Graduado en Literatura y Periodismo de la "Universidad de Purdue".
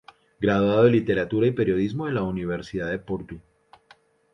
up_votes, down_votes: 0, 2